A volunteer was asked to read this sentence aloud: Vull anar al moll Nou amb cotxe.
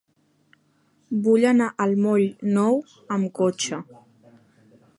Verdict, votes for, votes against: accepted, 3, 0